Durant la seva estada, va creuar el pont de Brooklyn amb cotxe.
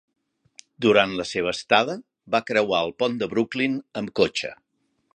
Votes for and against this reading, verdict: 4, 0, accepted